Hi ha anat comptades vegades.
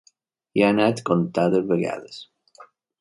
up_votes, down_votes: 2, 0